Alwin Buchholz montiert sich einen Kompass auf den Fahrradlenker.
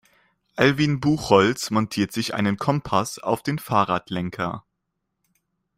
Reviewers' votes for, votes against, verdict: 2, 0, accepted